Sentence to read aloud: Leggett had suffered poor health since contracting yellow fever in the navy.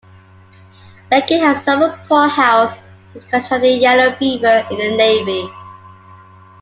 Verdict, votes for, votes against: rejected, 0, 2